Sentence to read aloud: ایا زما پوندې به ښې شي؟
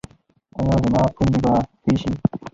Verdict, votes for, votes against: rejected, 2, 2